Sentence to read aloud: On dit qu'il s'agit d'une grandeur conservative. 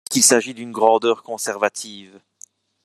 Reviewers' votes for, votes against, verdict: 1, 2, rejected